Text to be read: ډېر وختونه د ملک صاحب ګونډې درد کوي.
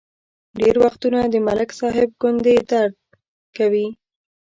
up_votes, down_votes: 1, 2